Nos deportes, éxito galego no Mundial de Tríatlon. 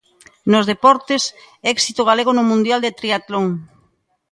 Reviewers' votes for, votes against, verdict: 2, 0, accepted